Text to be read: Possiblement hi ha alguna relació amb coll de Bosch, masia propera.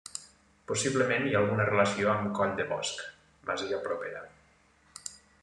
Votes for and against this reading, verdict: 2, 0, accepted